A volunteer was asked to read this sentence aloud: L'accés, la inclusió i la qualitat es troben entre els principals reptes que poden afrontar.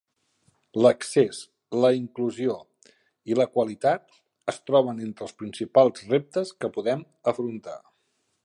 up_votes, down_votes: 1, 2